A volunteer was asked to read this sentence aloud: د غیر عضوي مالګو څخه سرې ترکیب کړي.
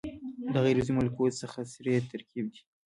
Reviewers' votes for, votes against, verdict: 0, 2, rejected